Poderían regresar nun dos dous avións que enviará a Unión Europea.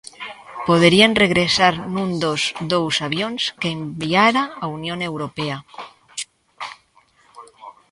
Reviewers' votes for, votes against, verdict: 0, 3, rejected